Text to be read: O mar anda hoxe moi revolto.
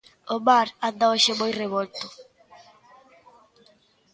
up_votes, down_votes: 0, 2